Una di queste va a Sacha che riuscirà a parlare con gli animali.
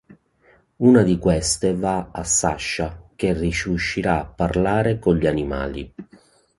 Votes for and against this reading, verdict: 0, 2, rejected